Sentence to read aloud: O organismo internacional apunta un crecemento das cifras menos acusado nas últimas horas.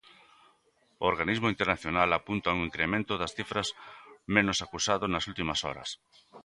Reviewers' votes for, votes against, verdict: 0, 2, rejected